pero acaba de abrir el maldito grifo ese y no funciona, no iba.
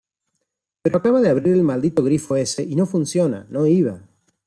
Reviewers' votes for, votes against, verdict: 2, 1, accepted